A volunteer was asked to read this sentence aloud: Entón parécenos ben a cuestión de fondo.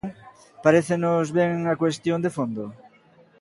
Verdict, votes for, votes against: rejected, 0, 2